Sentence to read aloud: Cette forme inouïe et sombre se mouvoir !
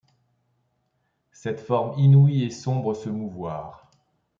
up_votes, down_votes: 2, 0